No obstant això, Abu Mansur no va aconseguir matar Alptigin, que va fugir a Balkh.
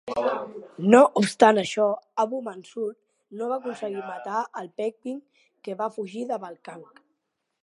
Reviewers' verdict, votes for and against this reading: rejected, 1, 3